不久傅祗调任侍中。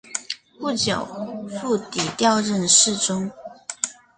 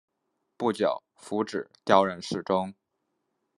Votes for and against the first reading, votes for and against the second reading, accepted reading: 0, 2, 2, 0, second